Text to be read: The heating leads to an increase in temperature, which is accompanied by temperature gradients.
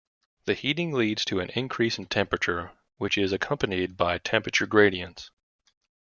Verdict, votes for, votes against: accepted, 2, 0